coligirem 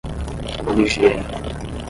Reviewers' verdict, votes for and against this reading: accepted, 5, 0